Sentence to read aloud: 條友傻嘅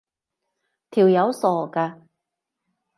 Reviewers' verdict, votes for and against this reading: accepted, 2, 0